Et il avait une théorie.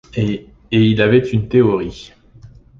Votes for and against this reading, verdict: 1, 2, rejected